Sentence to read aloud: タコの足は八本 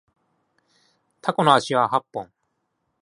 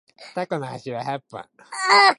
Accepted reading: first